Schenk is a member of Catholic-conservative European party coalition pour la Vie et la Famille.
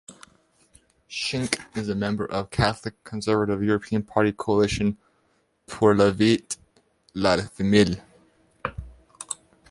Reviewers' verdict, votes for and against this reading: rejected, 0, 2